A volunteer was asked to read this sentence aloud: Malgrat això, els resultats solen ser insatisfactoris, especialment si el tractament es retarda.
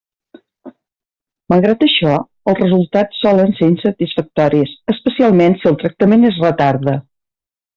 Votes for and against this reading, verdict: 2, 0, accepted